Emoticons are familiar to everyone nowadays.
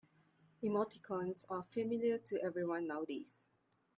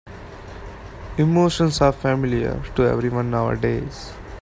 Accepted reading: first